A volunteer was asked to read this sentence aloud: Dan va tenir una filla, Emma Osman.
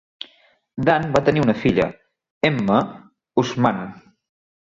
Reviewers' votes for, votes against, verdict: 2, 0, accepted